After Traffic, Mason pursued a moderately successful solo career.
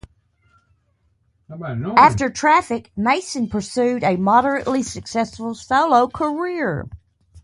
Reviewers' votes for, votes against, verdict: 0, 2, rejected